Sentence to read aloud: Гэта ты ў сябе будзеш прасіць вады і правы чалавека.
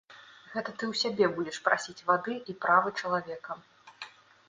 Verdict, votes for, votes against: rejected, 1, 2